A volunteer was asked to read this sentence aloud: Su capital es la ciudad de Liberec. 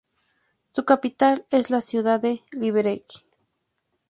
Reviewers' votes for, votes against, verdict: 2, 2, rejected